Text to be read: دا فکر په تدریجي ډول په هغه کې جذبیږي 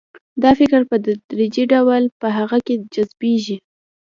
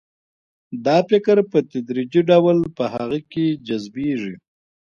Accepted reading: second